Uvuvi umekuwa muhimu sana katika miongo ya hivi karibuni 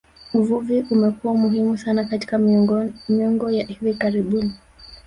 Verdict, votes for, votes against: rejected, 1, 2